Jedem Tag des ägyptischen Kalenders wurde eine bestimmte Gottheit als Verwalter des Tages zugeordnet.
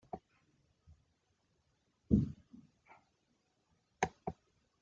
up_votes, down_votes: 0, 2